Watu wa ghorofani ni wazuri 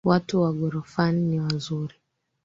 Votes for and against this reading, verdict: 4, 3, accepted